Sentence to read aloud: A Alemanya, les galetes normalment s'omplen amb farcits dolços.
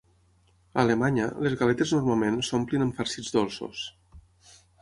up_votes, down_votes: 9, 0